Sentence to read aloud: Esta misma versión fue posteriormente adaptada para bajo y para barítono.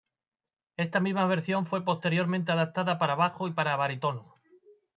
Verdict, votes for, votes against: rejected, 0, 2